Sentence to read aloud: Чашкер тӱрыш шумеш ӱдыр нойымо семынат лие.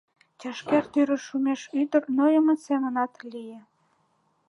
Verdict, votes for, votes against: accepted, 2, 0